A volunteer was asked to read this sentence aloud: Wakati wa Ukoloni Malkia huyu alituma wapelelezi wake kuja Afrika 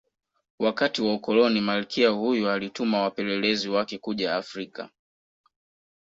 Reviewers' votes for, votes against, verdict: 1, 2, rejected